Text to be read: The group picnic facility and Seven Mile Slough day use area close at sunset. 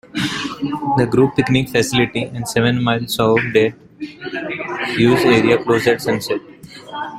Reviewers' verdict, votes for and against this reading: rejected, 0, 2